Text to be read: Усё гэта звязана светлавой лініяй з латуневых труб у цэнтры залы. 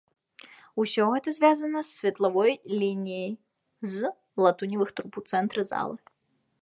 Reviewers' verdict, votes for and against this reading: accepted, 2, 0